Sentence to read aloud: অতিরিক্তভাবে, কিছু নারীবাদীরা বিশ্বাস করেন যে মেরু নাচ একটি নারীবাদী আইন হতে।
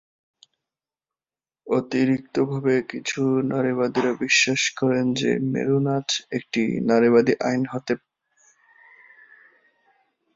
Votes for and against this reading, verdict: 0, 2, rejected